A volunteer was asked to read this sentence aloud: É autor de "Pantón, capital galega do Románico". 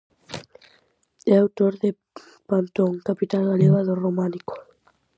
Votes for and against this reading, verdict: 4, 0, accepted